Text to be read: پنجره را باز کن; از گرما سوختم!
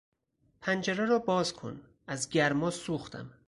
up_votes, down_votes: 4, 0